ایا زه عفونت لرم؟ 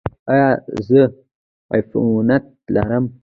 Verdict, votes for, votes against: rejected, 1, 2